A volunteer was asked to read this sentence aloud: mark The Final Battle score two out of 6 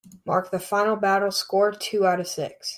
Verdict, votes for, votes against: rejected, 0, 2